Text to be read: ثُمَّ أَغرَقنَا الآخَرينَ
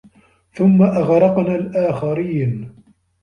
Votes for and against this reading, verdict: 2, 0, accepted